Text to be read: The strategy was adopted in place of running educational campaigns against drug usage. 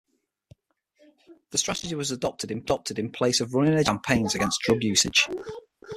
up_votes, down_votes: 3, 6